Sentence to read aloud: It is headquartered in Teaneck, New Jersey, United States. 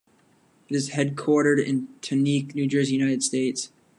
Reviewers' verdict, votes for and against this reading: rejected, 1, 2